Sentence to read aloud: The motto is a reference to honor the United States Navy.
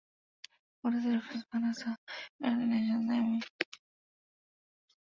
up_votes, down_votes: 0, 6